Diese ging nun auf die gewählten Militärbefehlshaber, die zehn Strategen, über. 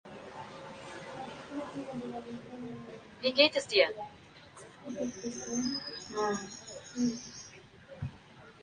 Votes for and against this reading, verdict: 0, 2, rejected